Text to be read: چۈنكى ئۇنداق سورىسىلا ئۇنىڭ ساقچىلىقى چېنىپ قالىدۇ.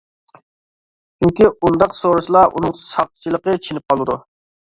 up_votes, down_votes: 2, 0